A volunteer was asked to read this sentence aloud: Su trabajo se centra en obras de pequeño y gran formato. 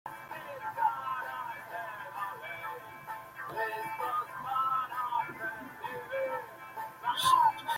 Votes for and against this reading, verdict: 0, 2, rejected